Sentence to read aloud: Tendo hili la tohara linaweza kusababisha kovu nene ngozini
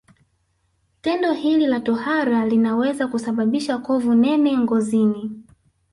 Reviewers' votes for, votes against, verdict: 3, 1, accepted